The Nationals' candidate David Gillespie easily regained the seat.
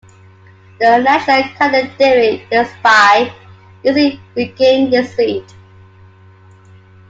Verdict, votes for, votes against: rejected, 1, 2